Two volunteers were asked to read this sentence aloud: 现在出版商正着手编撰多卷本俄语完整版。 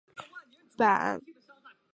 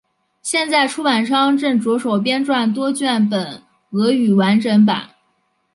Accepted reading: second